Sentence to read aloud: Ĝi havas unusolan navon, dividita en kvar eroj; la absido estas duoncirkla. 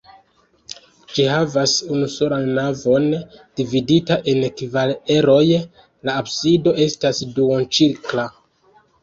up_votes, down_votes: 0, 2